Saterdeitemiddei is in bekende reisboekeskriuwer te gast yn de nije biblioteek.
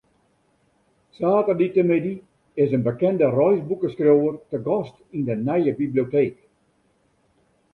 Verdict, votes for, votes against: accepted, 2, 0